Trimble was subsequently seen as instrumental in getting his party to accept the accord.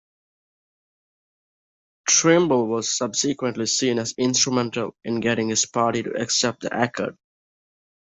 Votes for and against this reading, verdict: 2, 0, accepted